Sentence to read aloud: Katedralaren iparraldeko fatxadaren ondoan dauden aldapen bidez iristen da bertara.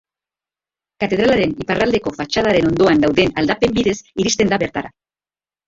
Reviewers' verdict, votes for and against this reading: accepted, 2, 1